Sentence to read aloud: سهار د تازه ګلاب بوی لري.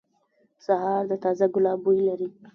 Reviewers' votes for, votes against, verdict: 0, 2, rejected